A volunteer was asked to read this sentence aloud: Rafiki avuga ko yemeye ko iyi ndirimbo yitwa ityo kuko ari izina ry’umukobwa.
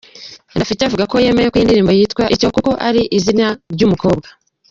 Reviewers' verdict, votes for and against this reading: rejected, 0, 2